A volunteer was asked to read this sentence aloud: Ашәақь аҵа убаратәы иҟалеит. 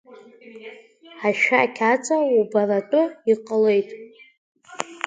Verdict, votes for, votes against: rejected, 0, 2